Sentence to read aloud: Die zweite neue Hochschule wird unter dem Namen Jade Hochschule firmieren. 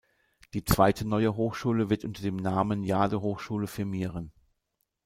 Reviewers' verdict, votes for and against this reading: accepted, 2, 0